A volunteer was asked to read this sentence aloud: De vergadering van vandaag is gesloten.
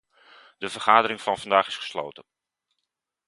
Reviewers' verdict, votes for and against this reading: accepted, 2, 0